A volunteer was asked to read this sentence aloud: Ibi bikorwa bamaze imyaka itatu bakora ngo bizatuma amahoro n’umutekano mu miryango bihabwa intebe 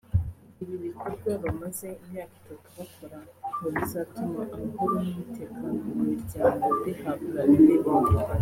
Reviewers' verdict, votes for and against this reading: rejected, 1, 2